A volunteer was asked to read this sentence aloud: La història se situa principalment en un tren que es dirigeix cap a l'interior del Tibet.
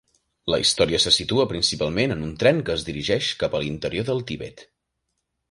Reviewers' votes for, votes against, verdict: 1, 2, rejected